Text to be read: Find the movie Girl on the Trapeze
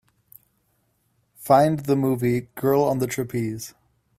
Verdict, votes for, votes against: accepted, 2, 0